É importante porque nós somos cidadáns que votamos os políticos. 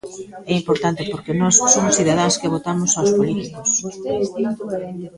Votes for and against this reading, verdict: 0, 2, rejected